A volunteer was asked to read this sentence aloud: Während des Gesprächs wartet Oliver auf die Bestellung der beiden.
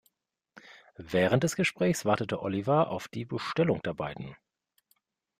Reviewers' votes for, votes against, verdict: 0, 2, rejected